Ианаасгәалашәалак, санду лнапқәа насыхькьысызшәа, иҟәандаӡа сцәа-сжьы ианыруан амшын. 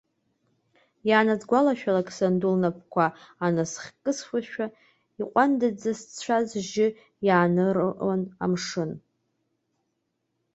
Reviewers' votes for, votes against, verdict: 1, 2, rejected